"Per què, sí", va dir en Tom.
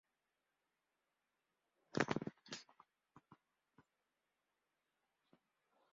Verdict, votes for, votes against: rejected, 0, 2